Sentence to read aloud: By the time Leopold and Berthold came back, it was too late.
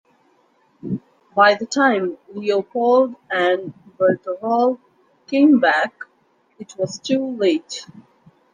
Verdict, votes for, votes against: accepted, 2, 1